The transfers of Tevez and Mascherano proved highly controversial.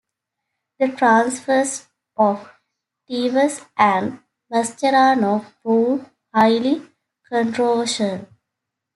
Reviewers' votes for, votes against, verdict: 2, 0, accepted